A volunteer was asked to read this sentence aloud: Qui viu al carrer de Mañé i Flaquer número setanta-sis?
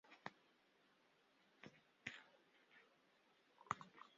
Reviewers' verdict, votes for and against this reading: rejected, 0, 2